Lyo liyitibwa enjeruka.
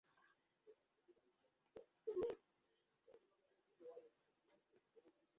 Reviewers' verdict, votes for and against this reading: rejected, 0, 2